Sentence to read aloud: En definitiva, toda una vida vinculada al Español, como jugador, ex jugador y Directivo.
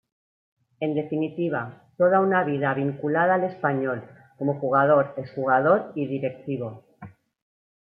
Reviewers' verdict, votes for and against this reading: rejected, 0, 2